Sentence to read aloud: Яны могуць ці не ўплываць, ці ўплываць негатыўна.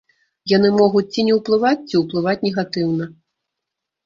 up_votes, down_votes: 2, 0